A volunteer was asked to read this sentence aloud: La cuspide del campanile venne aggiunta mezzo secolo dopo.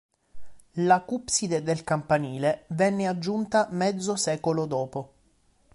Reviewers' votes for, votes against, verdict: 0, 3, rejected